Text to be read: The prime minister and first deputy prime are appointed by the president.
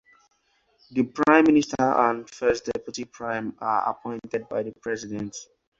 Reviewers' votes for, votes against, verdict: 2, 0, accepted